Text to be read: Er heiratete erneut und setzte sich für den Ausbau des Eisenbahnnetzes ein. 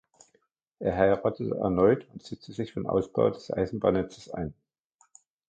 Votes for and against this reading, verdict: 0, 2, rejected